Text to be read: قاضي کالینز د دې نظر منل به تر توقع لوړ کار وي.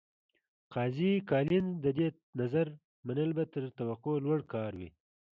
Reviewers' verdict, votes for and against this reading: accepted, 2, 0